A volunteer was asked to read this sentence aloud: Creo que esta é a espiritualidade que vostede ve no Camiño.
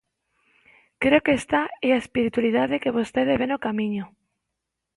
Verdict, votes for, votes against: rejected, 0, 2